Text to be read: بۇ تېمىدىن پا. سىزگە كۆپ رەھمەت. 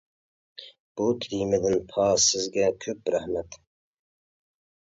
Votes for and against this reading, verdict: 0, 2, rejected